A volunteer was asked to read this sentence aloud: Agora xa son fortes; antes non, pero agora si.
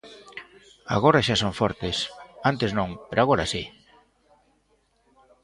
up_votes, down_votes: 2, 0